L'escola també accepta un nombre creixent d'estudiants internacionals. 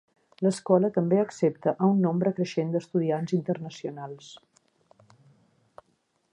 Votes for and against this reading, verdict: 1, 2, rejected